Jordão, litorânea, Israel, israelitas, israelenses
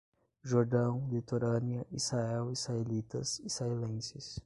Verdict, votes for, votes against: accepted, 5, 0